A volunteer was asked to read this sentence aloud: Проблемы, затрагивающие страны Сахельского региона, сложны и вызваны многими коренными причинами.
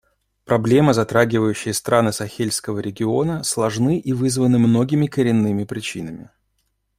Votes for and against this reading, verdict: 2, 0, accepted